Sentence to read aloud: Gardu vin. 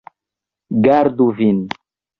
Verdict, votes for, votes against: rejected, 2, 3